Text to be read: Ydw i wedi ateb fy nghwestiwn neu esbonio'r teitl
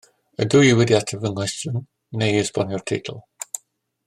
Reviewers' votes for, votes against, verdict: 2, 0, accepted